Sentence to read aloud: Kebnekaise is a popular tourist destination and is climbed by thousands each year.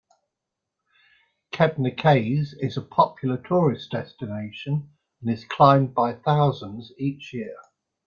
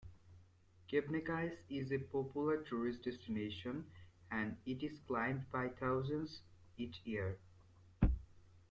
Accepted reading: first